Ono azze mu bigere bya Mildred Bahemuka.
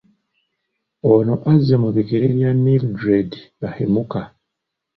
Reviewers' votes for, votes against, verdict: 2, 0, accepted